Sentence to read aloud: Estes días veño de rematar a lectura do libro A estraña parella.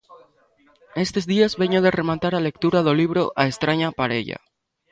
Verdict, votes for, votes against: rejected, 1, 2